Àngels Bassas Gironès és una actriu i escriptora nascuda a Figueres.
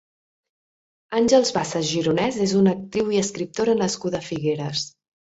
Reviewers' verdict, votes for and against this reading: accepted, 2, 0